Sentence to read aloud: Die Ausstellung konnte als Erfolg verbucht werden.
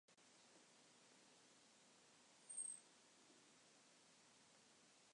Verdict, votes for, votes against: rejected, 0, 2